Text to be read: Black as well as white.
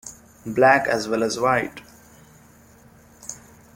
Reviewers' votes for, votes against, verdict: 2, 0, accepted